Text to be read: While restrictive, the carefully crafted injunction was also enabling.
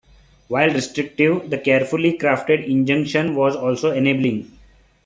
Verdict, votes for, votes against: accepted, 2, 0